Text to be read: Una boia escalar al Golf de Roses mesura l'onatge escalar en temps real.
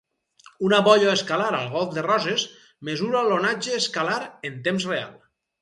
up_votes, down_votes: 4, 0